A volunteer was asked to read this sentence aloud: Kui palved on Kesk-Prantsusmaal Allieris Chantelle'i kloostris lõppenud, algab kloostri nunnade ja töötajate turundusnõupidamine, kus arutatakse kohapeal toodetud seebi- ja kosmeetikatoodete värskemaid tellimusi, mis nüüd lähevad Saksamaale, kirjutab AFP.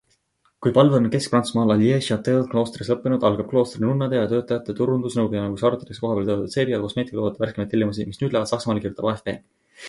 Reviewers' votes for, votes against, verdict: 2, 0, accepted